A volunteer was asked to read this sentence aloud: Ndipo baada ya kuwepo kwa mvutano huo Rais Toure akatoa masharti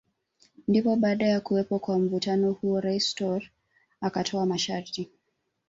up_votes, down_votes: 0, 2